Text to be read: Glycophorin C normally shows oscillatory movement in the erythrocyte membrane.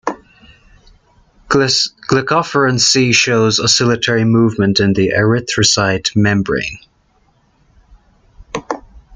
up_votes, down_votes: 1, 2